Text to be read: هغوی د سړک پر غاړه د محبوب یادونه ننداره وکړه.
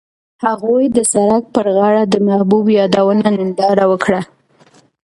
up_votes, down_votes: 2, 0